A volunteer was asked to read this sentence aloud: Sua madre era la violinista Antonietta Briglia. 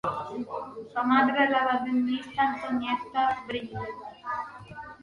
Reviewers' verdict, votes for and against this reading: rejected, 0, 2